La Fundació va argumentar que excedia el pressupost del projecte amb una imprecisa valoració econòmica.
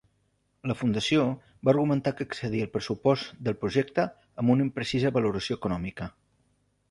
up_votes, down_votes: 2, 0